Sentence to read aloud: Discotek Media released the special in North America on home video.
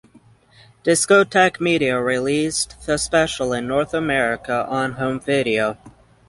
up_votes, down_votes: 6, 0